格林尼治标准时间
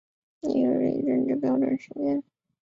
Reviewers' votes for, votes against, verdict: 1, 3, rejected